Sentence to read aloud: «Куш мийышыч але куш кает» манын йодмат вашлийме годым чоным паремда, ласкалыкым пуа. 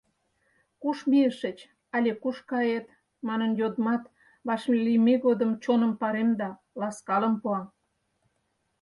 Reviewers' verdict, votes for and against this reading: rejected, 2, 4